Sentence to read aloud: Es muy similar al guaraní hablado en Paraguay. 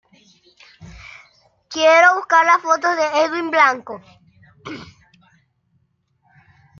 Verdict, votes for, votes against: rejected, 0, 2